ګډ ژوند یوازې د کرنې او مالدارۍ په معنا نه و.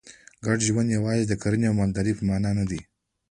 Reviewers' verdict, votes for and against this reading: rejected, 1, 2